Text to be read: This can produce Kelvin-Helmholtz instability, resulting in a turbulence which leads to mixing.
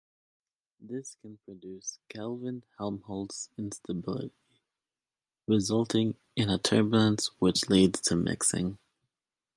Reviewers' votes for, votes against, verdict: 3, 2, accepted